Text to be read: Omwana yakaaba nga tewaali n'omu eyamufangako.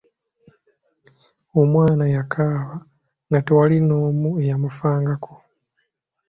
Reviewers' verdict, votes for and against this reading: accepted, 2, 0